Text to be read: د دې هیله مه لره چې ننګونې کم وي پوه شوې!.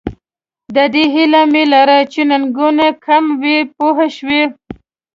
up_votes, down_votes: 1, 2